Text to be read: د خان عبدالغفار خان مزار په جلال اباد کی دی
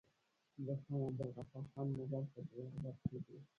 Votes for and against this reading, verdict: 0, 2, rejected